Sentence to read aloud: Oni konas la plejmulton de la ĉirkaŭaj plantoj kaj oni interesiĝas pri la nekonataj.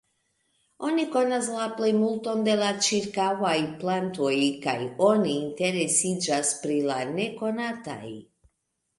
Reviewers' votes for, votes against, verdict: 2, 1, accepted